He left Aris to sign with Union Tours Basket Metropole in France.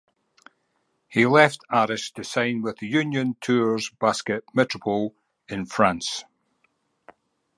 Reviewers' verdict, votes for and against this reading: accepted, 2, 0